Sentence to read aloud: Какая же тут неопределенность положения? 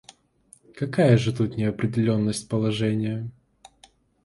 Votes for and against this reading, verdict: 2, 0, accepted